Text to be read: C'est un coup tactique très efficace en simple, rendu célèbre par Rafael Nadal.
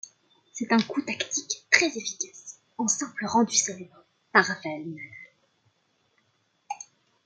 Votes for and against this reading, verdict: 0, 2, rejected